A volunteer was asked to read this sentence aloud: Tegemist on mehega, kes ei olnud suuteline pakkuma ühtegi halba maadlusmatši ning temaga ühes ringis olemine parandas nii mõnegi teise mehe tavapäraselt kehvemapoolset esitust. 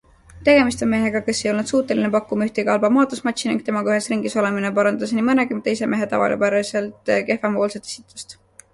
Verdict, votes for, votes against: accepted, 2, 0